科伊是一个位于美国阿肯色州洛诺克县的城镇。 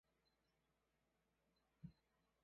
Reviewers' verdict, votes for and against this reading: rejected, 0, 3